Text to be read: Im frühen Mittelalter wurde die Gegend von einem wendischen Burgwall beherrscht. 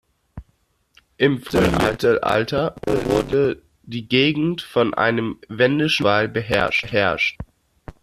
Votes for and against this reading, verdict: 0, 2, rejected